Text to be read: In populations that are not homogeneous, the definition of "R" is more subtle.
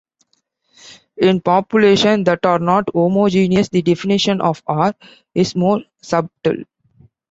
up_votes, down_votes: 2, 1